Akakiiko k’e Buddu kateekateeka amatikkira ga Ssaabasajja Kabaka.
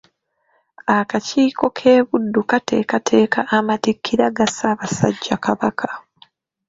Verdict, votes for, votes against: accepted, 2, 0